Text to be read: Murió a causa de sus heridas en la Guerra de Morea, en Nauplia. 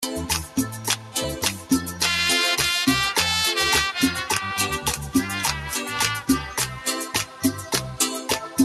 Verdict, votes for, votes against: rejected, 0, 2